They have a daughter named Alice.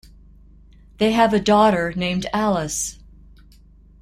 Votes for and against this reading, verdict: 2, 0, accepted